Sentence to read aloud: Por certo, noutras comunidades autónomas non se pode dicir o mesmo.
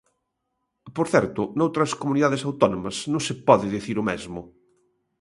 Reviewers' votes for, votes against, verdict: 2, 0, accepted